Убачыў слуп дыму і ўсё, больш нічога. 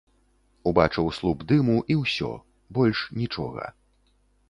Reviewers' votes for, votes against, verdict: 2, 0, accepted